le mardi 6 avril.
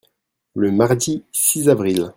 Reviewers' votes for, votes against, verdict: 0, 2, rejected